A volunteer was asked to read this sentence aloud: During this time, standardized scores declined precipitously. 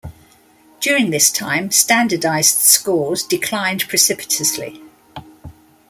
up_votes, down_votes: 2, 1